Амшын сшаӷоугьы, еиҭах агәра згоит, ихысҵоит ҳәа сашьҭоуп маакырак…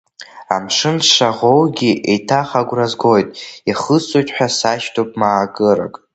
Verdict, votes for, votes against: accepted, 2, 1